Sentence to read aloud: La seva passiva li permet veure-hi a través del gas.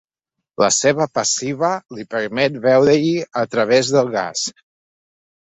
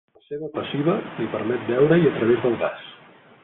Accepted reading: first